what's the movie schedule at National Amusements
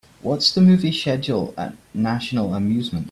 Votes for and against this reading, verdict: 1, 2, rejected